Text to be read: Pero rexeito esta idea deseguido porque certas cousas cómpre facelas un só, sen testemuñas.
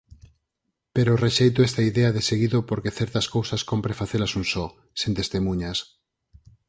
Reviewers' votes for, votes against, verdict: 4, 2, accepted